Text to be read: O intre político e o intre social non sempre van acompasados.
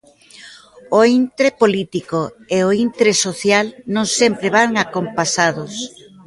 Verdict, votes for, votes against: rejected, 1, 2